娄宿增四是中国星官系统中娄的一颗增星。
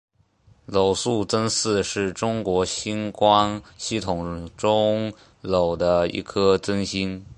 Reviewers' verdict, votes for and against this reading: accepted, 2, 0